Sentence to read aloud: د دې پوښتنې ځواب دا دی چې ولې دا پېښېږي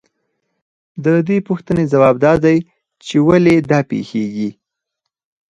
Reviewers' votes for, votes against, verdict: 0, 4, rejected